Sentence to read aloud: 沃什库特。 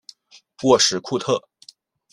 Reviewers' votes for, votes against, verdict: 2, 0, accepted